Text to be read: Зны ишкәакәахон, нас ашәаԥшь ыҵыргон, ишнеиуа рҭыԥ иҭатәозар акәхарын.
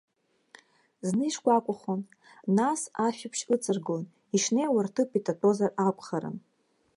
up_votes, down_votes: 0, 2